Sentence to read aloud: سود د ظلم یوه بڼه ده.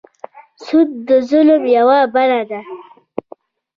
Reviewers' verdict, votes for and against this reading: rejected, 1, 2